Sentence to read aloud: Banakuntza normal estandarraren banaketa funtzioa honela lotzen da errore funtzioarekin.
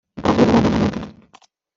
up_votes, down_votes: 0, 2